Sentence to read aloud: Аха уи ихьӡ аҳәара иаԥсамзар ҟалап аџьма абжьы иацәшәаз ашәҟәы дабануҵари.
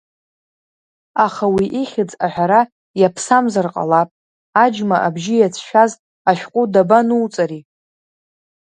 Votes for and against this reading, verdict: 1, 2, rejected